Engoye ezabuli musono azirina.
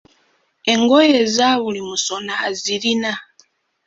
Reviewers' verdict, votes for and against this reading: accepted, 2, 1